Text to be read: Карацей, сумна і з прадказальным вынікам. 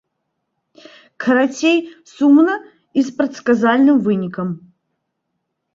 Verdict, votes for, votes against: rejected, 1, 2